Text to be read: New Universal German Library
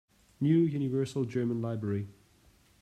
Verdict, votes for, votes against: accepted, 2, 0